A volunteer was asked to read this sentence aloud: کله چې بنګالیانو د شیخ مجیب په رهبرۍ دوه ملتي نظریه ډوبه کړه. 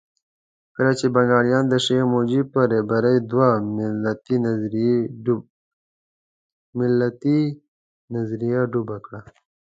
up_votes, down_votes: 1, 2